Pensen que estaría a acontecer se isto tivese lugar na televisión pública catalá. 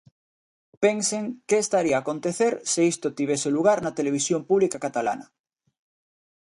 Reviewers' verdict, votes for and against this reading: rejected, 0, 2